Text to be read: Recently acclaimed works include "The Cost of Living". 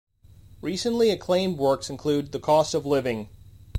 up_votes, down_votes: 2, 0